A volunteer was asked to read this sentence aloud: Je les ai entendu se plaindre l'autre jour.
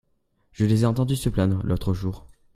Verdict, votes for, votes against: accepted, 2, 0